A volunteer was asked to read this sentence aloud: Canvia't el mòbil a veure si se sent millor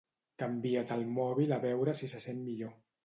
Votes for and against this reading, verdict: 2, 0, accepted